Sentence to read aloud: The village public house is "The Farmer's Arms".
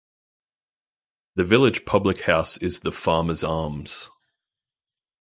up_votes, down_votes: 2, 0